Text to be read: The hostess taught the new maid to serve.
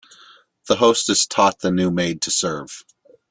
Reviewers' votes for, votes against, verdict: 8, 0, accepted